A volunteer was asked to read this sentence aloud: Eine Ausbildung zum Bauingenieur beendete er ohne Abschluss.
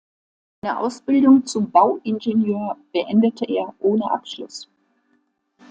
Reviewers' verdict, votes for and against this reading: accepted, 2, 0